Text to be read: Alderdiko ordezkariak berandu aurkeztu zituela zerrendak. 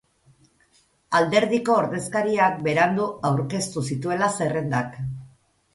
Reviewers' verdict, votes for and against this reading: accepted, 4, 0